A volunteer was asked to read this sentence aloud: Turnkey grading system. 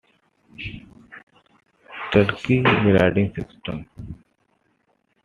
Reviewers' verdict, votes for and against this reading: accepted, 2, 0